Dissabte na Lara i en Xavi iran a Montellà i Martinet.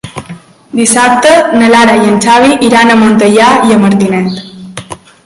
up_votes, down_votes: 2, 3